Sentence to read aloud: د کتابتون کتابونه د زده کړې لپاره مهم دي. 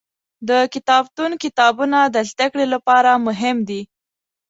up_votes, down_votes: 2, 0